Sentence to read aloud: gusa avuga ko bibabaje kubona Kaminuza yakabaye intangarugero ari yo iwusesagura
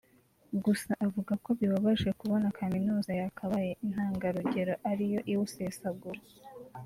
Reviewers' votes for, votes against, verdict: 0, 2, rejected